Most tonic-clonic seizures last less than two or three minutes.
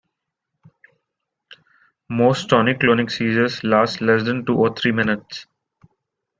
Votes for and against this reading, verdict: 2, 0, accepted